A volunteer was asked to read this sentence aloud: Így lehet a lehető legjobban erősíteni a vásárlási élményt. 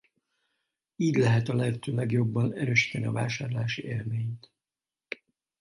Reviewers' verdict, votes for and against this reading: rejected, 2, 2